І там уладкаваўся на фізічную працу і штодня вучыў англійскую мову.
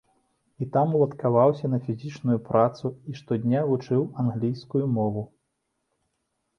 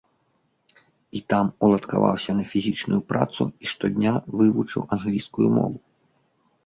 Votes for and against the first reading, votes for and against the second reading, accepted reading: 2, 1, 0, 2, first